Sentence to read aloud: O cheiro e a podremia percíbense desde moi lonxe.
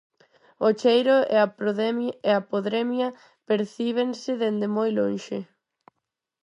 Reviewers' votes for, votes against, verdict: 0, 4, rejected